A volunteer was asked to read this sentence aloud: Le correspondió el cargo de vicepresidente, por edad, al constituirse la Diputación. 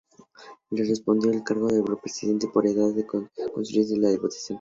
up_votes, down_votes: 2, 0